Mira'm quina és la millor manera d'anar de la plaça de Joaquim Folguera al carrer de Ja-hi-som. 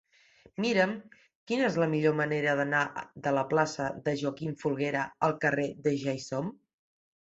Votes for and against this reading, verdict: 1, 2, rejected